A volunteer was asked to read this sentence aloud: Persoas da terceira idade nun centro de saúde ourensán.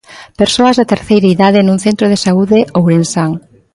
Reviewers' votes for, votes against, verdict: 2, 0, accepted